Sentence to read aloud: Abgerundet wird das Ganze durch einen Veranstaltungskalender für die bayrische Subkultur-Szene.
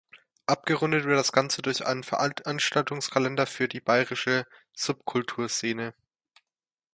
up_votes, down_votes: 0, 2